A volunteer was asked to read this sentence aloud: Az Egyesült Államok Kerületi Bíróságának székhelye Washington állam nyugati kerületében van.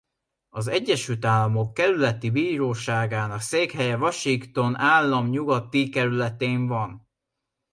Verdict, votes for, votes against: rejected, 0, 2